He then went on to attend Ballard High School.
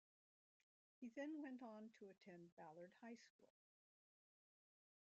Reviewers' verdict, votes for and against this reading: rejected, 0, 2